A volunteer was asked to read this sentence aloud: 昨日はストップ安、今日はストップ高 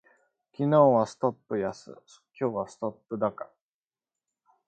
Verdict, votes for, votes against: accepted, 2, 0